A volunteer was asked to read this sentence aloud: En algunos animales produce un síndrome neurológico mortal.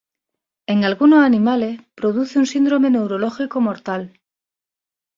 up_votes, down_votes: 2, 0